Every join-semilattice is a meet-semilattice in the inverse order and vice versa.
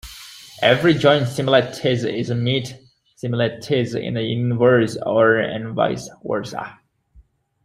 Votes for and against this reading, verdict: 1, 2, rejected